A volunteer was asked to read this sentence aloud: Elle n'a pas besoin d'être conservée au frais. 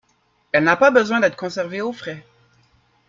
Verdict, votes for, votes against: accepted, 2, 1